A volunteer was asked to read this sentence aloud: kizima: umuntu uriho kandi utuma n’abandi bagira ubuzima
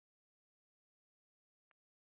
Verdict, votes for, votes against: rejected, 1, 2